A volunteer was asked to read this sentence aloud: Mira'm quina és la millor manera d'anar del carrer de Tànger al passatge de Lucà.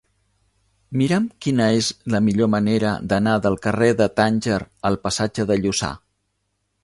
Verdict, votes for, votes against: rejected, 1, 2